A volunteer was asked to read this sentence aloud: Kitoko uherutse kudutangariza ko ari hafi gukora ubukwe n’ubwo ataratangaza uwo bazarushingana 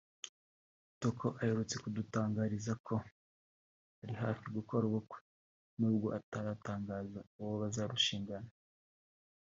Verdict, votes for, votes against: accepted, 4, 1